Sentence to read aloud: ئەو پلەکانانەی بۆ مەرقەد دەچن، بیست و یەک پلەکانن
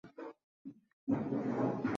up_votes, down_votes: 0, 2